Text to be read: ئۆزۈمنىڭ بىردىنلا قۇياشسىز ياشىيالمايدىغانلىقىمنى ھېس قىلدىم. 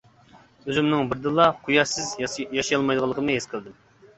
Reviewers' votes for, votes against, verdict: 0, 2, rejected